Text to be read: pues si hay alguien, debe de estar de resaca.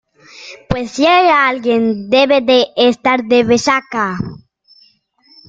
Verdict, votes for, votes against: accepted, 2, 1